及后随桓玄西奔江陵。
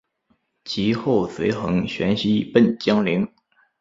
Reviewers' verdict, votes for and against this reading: accepted, 4, 0